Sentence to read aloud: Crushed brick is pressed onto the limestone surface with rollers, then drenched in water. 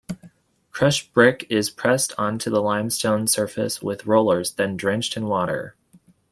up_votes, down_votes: 2, 0